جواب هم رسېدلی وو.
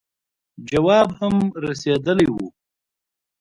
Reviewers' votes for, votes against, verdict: 2, 0, accepted